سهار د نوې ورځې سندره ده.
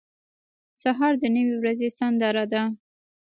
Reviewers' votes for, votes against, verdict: 0, 2, rejected